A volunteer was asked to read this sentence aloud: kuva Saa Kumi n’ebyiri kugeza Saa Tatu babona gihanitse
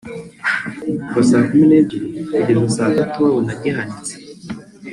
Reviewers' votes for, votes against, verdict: 0, 2, rejected